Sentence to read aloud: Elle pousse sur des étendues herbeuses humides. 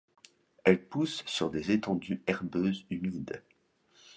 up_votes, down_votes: 2, 0